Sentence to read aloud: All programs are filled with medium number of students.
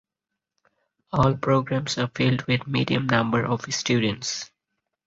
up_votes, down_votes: 4, 0